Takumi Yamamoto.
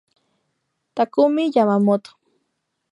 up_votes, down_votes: 2, 0